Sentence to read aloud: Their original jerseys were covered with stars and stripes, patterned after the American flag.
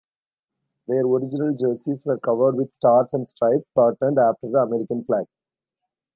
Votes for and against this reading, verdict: 1, 2, rejected